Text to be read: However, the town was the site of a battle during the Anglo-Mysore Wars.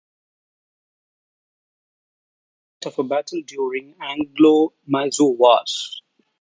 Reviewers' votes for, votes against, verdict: 1, 2, rejected